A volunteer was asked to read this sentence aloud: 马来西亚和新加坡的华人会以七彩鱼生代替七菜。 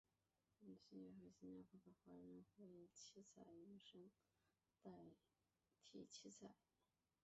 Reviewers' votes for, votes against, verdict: 0, 2, rejected